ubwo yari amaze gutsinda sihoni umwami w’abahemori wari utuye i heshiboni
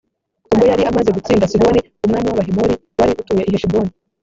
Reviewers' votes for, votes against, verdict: 0, 2, rejected